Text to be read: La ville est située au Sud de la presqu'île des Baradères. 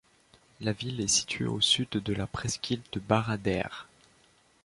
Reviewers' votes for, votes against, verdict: 0, 2, rejected